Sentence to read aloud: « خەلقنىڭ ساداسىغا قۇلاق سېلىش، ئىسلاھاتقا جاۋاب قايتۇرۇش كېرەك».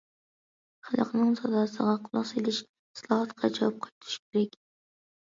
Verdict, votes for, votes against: rejected, 1, 2